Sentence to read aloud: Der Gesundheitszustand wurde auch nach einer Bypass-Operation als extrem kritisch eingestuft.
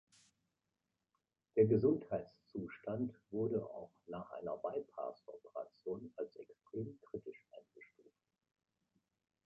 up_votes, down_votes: 2, 0